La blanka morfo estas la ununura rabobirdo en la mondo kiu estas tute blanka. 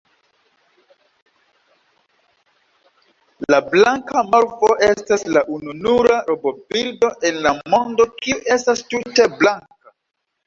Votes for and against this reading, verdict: 1, 2, rejected